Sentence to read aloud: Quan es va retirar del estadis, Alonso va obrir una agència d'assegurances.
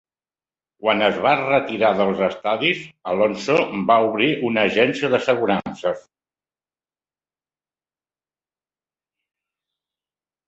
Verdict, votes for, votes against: accepted, 2, 0